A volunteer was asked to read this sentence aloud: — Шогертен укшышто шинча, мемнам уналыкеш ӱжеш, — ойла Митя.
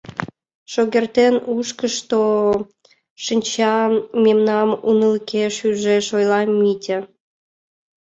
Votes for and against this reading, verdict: 0, 2, rejected